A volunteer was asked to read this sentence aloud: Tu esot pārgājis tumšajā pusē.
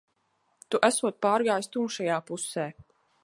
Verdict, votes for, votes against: accepted, 2, 0